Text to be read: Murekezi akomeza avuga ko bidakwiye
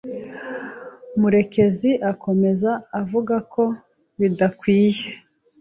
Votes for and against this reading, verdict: 2, 0, accepted